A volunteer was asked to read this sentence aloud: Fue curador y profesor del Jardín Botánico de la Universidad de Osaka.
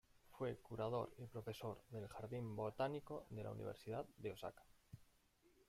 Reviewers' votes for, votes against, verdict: 0, 2, rejected